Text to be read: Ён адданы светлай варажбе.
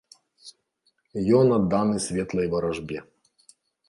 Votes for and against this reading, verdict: 3, 0, accepted